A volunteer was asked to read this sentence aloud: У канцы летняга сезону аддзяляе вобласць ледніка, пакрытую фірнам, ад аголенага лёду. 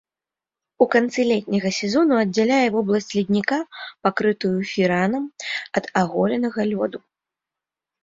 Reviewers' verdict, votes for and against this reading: rejected, 1, 2